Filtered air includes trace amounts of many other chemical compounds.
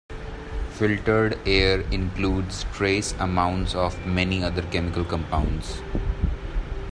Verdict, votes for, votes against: accepted, 2, 0